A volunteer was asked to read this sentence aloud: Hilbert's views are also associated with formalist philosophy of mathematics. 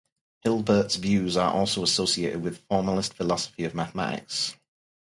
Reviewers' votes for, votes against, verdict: 2, 0, accepted